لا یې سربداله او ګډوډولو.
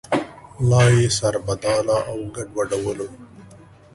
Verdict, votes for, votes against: accepted, 3, 1